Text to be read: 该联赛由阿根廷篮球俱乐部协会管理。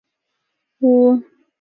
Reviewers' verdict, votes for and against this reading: rejected, 1, 2